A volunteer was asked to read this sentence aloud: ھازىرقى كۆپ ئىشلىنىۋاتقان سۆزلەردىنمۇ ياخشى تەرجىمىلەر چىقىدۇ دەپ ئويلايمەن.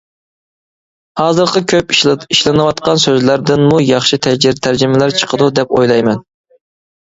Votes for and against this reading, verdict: 0, 2, rejected